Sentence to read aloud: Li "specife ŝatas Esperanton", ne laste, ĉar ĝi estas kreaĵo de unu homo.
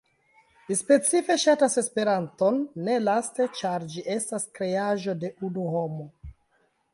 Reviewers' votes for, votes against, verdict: 2, 0, accepted